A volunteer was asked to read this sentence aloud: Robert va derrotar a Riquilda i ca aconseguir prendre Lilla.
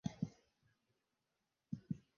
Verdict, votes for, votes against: rejected, 0, 2